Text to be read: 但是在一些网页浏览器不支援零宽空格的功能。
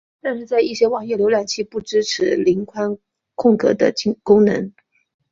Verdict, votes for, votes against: rejected, 1, 2